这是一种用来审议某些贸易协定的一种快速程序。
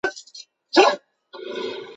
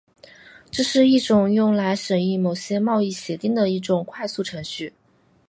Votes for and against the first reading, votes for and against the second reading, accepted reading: 0, 3, 9, 1, second